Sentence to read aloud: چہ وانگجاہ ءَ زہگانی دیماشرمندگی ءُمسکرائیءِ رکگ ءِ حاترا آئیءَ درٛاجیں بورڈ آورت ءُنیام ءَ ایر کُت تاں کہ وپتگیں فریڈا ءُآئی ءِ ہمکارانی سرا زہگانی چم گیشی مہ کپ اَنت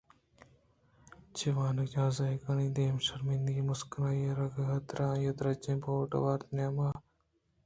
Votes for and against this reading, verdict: 1, 2, rejected